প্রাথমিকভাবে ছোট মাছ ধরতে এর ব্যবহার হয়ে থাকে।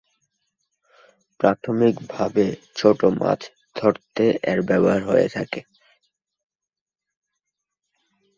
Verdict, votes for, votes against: rejected, 2, 4